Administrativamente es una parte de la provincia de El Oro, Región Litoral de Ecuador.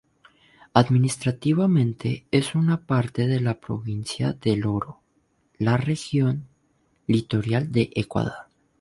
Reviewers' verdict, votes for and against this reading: rejected, 0, 2